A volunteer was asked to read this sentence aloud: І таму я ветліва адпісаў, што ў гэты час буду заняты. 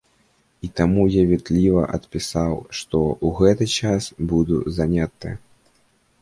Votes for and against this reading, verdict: 0, 2, rejected